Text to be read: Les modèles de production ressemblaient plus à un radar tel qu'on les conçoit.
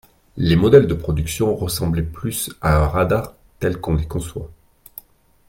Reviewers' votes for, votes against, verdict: 2, 0, accepted